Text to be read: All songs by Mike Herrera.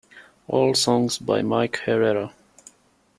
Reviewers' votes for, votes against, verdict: 2, 0, accepted